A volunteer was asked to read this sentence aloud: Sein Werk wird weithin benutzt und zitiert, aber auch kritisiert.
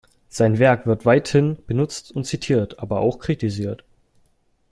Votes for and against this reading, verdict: 2, 0, accepted